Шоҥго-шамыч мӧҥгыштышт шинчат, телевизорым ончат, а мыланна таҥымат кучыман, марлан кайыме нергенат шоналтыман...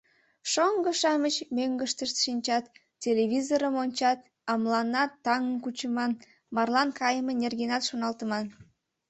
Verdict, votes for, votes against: rejected, 1, 2